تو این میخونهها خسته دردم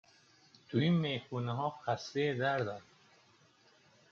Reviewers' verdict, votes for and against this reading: accepted, 2, 0